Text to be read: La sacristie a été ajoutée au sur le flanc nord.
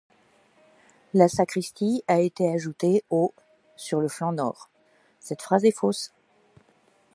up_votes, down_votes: 1, 2